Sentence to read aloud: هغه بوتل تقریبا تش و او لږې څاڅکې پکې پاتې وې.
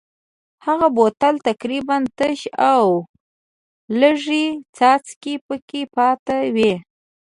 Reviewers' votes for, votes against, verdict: 2, 0, accepted